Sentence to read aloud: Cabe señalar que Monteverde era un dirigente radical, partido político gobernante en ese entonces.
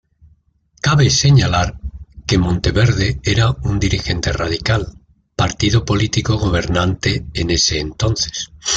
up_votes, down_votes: 2, 0